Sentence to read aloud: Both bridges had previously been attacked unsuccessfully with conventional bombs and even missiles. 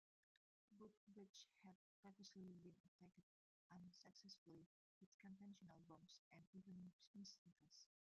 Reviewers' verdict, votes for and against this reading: rejected, 0, 2